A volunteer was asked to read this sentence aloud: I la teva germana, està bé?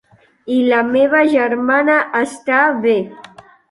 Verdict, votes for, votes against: rejected, 0, 2